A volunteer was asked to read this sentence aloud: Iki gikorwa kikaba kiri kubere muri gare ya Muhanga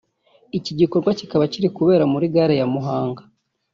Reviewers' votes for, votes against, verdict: 1, 2, rejected